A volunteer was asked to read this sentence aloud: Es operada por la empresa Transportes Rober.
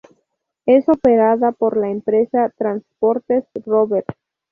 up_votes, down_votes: 2, 0